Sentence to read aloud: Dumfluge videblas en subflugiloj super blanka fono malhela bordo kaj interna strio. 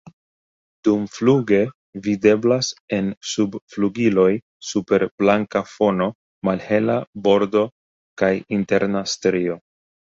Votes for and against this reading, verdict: 2, 0, accepted